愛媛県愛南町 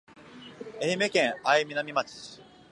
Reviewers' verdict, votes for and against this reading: accepted, 2, 1